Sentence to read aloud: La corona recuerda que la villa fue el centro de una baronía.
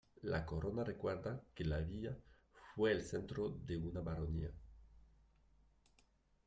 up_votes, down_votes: 2, 0